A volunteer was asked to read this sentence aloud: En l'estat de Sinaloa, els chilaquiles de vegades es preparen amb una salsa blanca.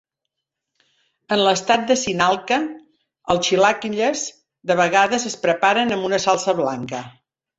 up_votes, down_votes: 3, 4